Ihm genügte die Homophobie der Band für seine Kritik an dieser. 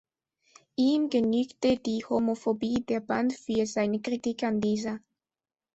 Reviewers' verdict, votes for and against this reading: accepted, 2, 0